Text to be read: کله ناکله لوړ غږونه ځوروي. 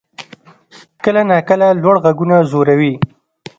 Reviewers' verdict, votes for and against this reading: accepted, 2, 0